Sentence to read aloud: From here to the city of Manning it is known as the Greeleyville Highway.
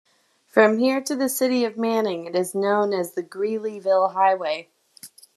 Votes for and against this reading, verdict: 2, 0, accepted